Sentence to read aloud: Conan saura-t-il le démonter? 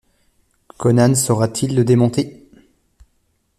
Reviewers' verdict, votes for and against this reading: accepted, 2, 0